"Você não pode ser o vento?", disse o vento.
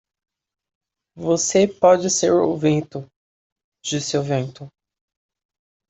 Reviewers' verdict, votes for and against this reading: rejected, 0, 2